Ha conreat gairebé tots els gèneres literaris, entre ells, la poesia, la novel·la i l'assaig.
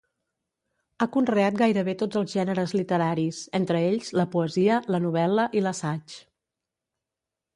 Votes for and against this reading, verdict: 2, 0, accepted